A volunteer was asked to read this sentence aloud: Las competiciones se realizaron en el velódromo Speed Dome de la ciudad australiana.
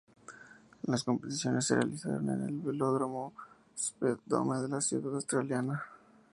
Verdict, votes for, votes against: rejected, 0, 2